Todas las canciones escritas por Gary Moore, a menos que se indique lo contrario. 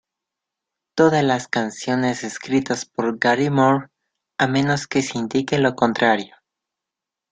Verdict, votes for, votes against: accepted, 2, 0